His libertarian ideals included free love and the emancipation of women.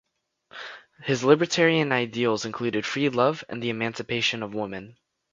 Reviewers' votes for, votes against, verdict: 2, 0, accepted